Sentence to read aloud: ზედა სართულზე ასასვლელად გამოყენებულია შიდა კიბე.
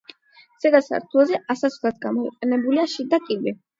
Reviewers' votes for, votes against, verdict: 4, 8, rejected